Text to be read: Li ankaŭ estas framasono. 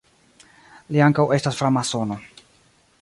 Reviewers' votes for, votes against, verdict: 2, 1, accepted